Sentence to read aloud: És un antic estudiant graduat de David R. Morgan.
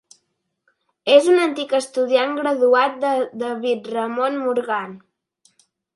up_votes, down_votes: 1, 2